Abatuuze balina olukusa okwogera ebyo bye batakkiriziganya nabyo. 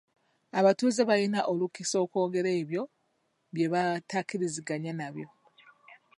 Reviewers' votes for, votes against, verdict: 1, 3, rejected